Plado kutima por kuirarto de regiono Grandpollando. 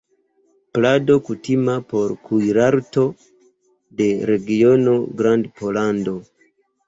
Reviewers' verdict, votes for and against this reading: accepted, 2, 1